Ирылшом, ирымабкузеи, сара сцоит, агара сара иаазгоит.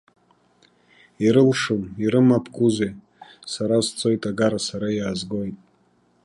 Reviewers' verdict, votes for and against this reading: accepted, 2, 0